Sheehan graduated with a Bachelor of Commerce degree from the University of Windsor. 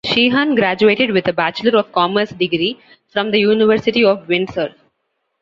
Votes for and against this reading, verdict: 2, 0, accepted